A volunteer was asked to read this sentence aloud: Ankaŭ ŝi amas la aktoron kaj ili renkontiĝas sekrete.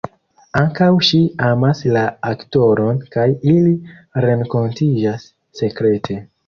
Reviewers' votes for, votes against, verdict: 2, 0, accepted